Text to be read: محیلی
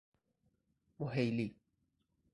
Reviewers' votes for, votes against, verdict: 2, 2, rejected